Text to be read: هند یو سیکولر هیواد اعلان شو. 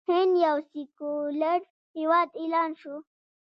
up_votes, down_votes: 1, 2